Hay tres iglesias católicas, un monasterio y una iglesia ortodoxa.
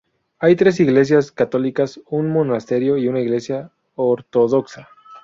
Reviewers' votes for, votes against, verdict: 2, 4, rejected